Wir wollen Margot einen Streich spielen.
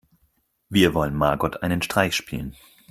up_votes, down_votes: 4, 0